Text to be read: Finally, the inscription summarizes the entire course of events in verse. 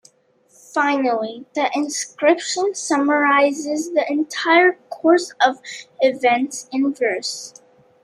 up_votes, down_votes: 2, 0